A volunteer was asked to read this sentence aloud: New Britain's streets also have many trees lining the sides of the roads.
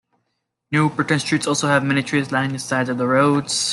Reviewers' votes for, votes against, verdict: 2, 1, accepted